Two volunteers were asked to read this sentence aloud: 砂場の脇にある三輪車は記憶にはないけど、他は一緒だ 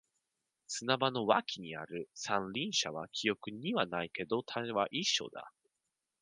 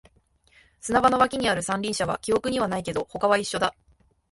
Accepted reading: second